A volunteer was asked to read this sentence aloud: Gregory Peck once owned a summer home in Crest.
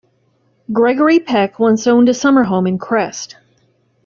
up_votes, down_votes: 2, 1